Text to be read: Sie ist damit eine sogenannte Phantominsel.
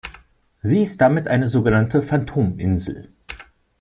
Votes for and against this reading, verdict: 2, 0, accepted